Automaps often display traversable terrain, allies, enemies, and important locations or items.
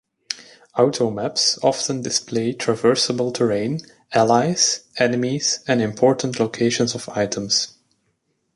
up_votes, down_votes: 0, 2